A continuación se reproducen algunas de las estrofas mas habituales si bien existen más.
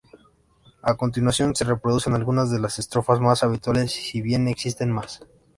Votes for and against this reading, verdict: 3, 0, accepted